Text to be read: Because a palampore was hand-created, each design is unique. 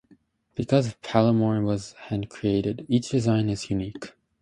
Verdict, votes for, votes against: rejected, 0, 2